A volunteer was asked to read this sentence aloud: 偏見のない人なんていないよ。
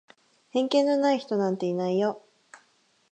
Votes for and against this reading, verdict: 2, 2, rejected